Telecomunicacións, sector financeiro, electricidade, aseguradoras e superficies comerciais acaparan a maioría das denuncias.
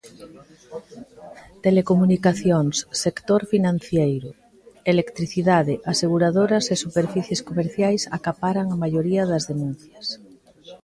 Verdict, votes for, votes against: rejected, 0, 2